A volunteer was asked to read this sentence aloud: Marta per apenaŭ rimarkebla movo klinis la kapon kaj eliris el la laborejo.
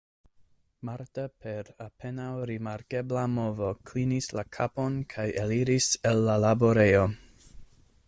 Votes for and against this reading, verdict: 2, 0, accepted